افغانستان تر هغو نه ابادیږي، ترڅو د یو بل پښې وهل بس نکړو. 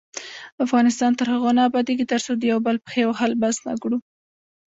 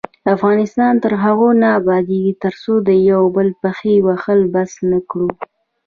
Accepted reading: second